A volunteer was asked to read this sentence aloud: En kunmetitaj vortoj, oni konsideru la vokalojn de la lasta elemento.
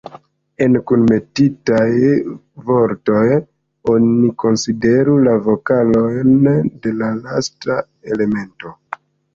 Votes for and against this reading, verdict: 2, 1, accepted